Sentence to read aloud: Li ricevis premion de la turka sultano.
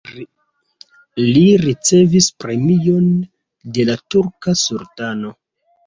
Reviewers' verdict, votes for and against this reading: rejected, 1, 2